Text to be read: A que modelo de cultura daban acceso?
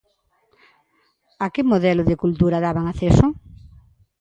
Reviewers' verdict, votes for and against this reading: accepted, 2, 0